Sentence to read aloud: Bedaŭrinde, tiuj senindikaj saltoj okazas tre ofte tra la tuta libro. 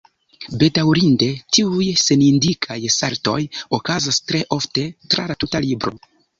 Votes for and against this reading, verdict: 1, 2, rejected